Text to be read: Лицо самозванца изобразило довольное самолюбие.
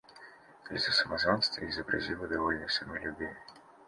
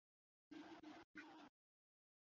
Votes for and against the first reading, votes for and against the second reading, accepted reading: 2, 0, 0, 2, first